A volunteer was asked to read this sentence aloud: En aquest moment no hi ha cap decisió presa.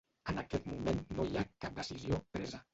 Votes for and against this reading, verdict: 0, 2, rejected